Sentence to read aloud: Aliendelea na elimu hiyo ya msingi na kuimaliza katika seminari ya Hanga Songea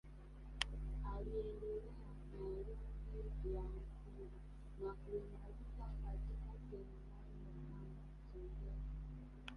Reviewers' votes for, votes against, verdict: 1, 2, rejected